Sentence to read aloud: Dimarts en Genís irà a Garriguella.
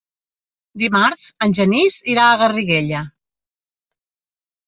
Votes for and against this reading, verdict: 3, 0, accepted